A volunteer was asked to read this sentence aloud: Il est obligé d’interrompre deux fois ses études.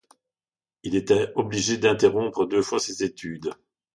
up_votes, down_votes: 0, 2